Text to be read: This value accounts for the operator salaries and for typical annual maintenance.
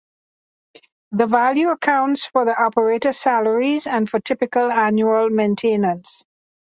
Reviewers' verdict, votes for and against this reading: rejected, 0, 2